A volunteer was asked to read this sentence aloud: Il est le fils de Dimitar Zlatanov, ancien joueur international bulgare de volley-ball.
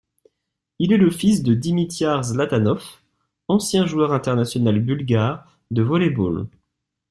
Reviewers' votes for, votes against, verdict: 1, 2, rejected